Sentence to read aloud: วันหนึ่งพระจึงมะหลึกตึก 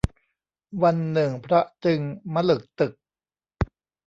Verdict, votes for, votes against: accepted, 2, 0